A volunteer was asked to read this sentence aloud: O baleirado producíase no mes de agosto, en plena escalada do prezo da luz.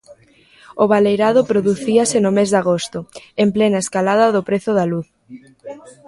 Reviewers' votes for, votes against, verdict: 0, 2, rejected